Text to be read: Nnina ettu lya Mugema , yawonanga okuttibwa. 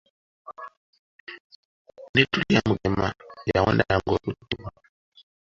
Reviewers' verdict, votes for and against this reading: rejected, 0, 2